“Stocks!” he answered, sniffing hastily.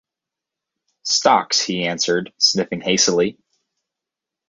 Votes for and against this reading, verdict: 2, 2, rejected